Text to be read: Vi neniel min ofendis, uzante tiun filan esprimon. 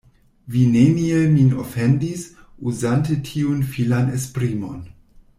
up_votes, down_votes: 1, 2